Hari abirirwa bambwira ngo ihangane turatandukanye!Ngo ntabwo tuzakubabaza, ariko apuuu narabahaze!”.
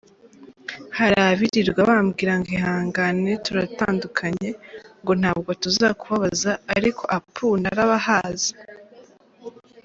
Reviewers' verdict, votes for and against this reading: accepted, 2, 0